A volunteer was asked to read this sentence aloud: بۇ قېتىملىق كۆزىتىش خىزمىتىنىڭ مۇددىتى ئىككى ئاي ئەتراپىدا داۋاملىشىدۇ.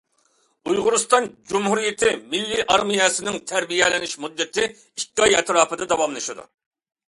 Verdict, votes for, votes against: rejected, 0, 2